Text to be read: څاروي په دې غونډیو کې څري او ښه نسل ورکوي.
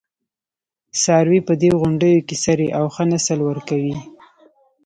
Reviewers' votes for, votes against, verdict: 2, 0, accepted